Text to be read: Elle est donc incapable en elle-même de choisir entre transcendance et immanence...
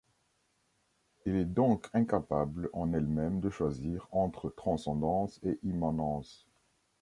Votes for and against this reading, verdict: 0, 2, rejected